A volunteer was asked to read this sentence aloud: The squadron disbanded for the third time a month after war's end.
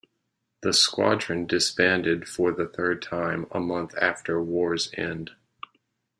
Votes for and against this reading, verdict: 2, 0, accepted